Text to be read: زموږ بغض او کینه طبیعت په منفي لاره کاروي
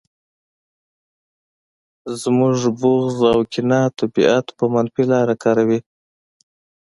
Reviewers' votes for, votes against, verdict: 2, 0, accepted